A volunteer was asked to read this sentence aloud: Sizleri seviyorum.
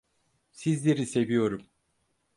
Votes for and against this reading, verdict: 4, 0, accepted